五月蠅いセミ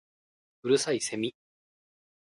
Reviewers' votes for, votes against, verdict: 3, 2, accepted